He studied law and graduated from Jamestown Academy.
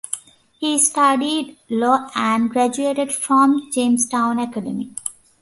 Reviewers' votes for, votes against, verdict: 2, 0, accepted